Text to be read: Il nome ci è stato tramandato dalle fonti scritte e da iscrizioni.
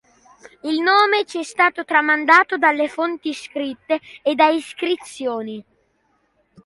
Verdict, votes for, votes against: accepted, 2, 0